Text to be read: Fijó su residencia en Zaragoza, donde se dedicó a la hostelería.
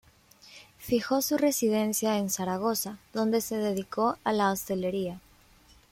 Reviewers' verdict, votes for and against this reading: rejected, 0, 2